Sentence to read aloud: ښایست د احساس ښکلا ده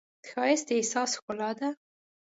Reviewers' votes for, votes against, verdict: 2, 0, accepted